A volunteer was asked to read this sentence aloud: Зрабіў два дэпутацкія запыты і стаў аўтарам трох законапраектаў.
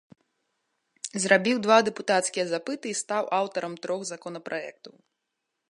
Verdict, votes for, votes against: accepted, 2, 0